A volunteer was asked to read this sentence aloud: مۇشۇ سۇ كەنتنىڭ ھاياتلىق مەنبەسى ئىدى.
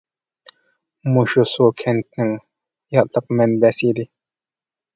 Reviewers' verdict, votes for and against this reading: rejected, 0, 2